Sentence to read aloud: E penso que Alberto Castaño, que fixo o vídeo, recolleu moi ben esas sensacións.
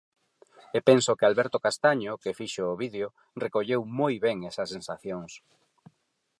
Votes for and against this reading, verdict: 4, 0, accepted